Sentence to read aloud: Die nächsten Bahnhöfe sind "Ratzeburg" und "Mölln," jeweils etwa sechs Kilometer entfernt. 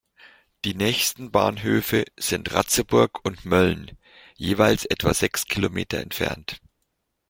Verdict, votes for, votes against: accepted, 2, 0